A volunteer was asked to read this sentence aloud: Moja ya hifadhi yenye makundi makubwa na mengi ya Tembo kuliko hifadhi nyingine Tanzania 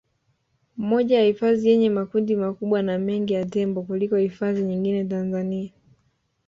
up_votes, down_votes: 2, 0